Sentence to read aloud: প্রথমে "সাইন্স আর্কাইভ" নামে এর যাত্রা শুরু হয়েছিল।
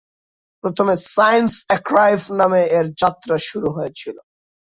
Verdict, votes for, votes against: rejected, 0, 4